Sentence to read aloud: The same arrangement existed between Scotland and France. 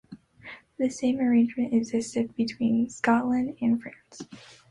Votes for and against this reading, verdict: 3, 0, accepted